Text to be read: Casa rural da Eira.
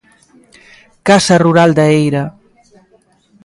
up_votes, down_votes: 2, 0